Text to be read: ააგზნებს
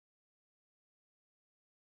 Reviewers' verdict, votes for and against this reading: rejected, 0, 2